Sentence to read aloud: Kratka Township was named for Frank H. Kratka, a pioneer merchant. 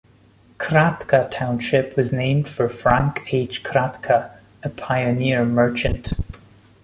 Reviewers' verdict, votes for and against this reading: accepted, 2, 0